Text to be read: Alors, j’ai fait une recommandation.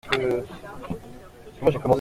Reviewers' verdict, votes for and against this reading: rejected, 0, 2